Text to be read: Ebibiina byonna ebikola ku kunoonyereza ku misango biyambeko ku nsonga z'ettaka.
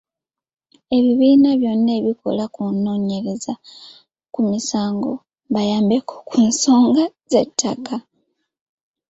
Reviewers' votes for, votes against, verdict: 1, 2, rejected